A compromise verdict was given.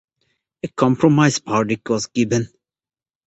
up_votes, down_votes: 2, 0